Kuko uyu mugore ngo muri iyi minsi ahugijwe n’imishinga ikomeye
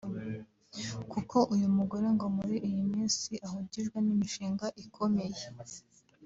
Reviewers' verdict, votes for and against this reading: accepted, 2, 1